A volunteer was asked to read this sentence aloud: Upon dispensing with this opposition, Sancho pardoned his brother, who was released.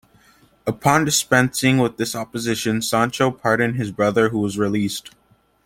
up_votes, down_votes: 2, 0